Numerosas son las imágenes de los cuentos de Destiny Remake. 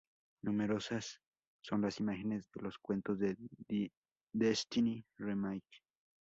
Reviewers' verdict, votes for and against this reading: rejected, 0, 2